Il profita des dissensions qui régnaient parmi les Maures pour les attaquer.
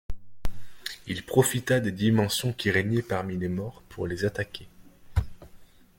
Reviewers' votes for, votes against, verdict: 1, 2, rejected